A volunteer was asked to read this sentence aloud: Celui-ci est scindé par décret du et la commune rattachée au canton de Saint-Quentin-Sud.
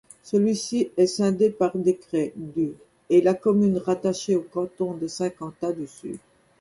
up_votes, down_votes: 2, 0